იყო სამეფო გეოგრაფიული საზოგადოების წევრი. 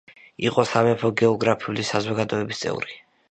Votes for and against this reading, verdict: 2, 0, accepted